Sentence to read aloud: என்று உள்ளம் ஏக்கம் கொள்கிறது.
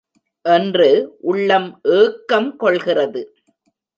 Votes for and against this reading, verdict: 0, 2, rejected